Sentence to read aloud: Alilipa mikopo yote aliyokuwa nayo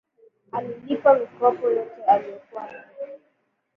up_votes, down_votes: 1, 2